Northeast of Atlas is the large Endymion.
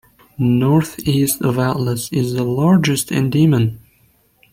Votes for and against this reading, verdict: 1, 2, rejected